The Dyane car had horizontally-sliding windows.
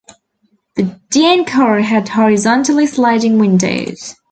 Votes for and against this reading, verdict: 3, 0, accepted